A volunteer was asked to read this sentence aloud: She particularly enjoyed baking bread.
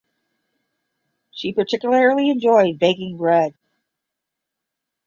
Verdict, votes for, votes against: accepted, 10, 0